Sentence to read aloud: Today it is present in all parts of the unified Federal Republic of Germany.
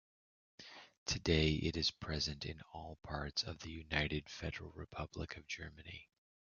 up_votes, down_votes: 1, 2